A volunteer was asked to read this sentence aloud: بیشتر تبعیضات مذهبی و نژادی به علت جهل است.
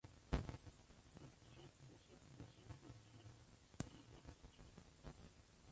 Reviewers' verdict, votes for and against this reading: rejected, 0, 2